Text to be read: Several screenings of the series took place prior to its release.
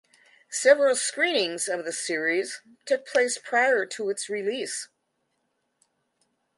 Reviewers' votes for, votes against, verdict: 2, 0, accepted